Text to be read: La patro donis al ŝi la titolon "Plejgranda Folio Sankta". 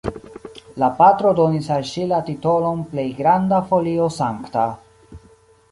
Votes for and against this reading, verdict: 1, 2, rejected